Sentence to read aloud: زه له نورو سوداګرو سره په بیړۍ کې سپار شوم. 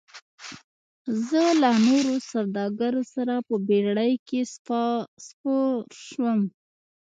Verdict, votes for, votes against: rejected, 0, 2